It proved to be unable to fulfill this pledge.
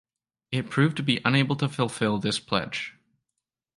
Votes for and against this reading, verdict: 2, 0, accepted